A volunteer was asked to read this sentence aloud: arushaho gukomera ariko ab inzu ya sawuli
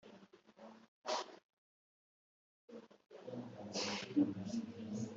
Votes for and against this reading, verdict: 0, 2, rejected